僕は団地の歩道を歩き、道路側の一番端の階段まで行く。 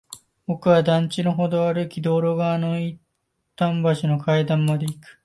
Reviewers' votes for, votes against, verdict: 0, 2, rejected